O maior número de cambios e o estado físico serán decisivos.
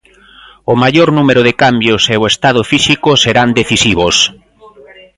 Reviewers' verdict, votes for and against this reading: accepted, 2, 0